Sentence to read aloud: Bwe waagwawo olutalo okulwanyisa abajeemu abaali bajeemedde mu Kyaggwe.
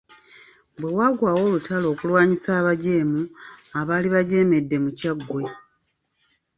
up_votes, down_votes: 2, 0